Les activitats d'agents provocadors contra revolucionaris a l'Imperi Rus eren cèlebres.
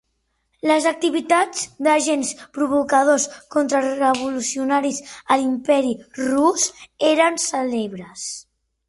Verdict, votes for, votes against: rejected, 0, 3